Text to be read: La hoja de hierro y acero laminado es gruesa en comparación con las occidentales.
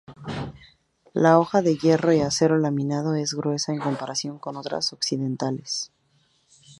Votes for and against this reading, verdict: 2, 0, accepted